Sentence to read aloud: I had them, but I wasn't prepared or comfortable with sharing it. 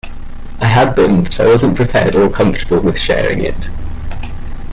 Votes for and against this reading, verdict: 2, 1, accepted